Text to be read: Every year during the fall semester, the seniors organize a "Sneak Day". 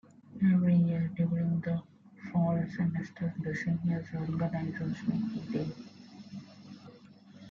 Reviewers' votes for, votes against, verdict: 2, 1, accepted